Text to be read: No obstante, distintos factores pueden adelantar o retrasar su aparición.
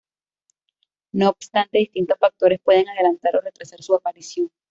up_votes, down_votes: 1, 2